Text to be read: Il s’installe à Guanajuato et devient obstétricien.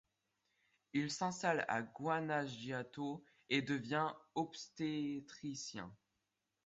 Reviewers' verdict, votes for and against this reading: accepted, 2, 0